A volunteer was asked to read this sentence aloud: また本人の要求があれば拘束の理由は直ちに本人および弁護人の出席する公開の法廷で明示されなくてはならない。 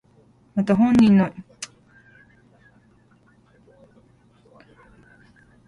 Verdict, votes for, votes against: rejected, 0, 2